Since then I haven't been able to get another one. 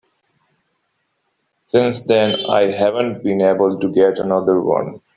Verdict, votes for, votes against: accepted, 2, 0